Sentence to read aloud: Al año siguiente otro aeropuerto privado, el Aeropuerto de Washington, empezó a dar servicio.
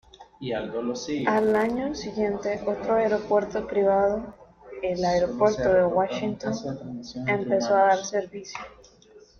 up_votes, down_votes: 1, 2